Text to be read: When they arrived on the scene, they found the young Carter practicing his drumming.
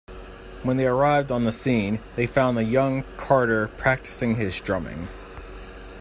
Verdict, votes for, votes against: accepted, 2, 0